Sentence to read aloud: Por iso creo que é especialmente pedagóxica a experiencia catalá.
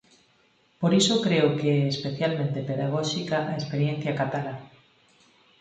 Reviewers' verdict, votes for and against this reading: accepted, 4, 0